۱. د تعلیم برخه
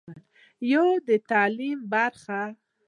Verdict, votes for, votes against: rejected, 0, 2